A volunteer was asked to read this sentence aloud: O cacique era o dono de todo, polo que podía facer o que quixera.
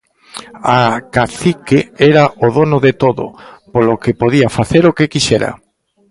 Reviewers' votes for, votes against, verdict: 0, 2, rejected